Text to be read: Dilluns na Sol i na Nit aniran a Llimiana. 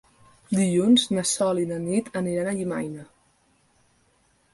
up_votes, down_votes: 0, 2